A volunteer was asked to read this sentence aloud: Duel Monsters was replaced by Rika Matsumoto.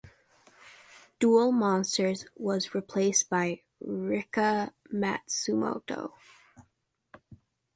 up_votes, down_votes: 2, 0